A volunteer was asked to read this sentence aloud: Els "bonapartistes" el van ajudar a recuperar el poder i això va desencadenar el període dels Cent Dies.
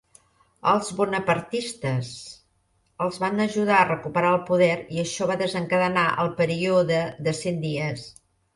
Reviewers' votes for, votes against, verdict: 0, 2, rejected